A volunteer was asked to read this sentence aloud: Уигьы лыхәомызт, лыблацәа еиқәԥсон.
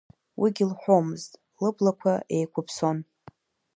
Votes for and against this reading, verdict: 0, 2, rejected